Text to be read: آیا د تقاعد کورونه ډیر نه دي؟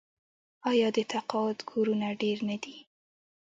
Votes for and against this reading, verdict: 1, 2, rejected